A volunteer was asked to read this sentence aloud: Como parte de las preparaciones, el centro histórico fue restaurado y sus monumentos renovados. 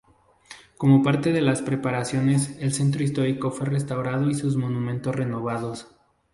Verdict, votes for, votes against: rejected, 2, 2